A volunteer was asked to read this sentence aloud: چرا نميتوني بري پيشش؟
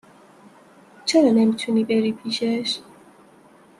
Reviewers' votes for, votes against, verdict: 2, 0, accepted